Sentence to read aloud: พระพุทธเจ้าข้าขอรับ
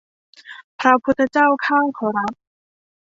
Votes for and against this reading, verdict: 2, 0, accepted